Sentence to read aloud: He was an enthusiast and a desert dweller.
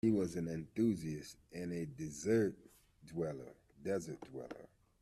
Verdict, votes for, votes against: rejected, 0, 2